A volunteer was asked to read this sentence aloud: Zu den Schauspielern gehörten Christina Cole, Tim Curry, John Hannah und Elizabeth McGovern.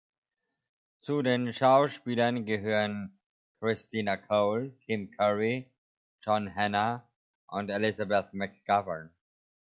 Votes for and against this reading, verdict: 0, 2, rejected